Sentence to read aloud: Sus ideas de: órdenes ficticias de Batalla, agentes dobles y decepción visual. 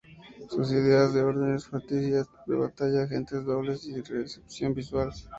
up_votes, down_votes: 2, 0